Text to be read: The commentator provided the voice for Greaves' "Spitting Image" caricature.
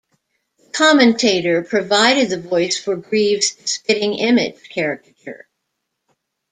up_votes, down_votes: 0, 2